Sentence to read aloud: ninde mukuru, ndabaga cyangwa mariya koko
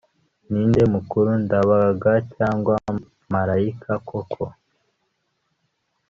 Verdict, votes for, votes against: rejected, 0, 2